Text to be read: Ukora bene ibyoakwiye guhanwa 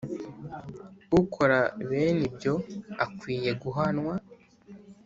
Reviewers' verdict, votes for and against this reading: accepted, 3, 0